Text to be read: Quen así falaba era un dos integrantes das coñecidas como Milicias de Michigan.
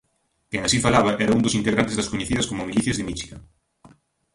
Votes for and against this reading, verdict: 0, 2, rejected